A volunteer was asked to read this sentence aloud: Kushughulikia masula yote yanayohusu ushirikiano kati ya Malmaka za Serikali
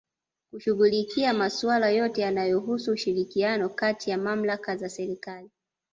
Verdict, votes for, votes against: accepted, 2, 0